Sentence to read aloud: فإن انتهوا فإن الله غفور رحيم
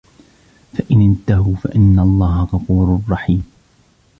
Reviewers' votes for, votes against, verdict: 0, 2, rejected